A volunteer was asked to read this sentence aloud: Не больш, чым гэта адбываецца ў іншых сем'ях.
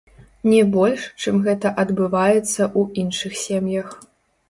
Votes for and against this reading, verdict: 0, 3, rejected